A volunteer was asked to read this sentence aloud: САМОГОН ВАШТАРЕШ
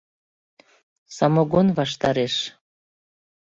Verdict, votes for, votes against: accepted, 2, 0